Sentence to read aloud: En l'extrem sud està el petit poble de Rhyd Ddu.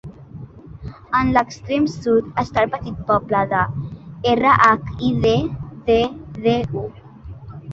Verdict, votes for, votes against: rejected, 0, 3